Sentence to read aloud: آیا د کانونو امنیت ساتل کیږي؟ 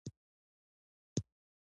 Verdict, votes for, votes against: accepted, 2, 0